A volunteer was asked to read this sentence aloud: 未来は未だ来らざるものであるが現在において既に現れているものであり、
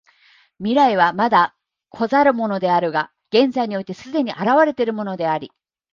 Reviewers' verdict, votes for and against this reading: rejected, 1, 2